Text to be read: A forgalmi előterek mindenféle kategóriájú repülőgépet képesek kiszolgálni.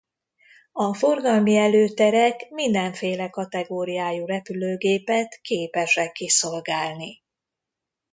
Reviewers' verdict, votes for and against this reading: accepted, 2, 0